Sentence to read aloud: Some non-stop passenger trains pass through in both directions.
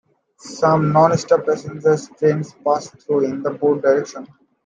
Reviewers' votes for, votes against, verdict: 2, 1, accepted